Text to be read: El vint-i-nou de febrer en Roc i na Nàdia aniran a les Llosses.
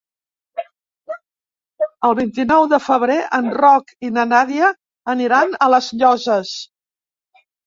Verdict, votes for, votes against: rejected, 0, 3